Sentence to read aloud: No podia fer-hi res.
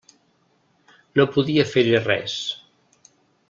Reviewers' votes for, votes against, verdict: 3, 0, accepted